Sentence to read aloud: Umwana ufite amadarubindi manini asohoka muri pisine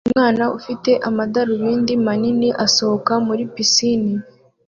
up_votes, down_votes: 3, 0